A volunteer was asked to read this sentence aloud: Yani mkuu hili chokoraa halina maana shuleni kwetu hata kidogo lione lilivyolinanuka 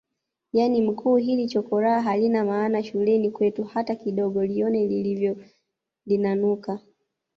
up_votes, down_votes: 1, 2